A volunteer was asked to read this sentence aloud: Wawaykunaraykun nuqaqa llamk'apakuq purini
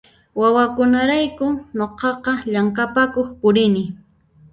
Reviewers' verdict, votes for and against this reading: rejected, 0, 2